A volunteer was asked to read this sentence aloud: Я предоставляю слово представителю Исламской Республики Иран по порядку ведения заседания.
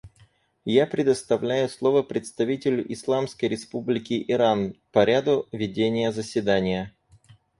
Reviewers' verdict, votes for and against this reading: rejected, 2, 4